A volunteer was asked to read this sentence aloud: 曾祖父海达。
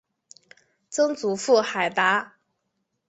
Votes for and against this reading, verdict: 2, 0, accepted